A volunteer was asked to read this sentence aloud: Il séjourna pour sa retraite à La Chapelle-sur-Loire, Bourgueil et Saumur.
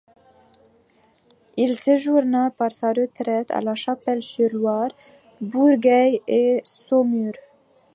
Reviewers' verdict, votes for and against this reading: accepted, 2, 1